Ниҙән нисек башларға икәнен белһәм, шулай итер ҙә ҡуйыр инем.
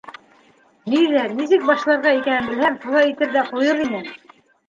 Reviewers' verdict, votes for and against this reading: rejected, 0, 2